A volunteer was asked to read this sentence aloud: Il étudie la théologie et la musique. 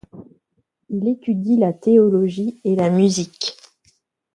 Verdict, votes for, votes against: rejected, 1, 2